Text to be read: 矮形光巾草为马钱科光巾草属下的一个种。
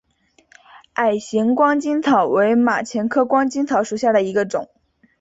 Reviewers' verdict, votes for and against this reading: accepted, 2, 0